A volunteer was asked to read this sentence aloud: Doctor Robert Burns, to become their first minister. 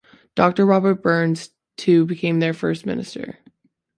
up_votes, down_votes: 1, 2